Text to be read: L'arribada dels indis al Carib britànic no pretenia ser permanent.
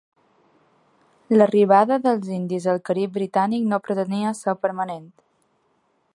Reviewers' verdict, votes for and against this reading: accepted, 2, 0